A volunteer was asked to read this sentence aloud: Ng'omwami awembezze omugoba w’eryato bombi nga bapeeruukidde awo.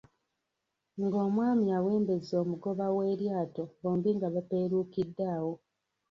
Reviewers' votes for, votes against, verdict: 1, 2, rejected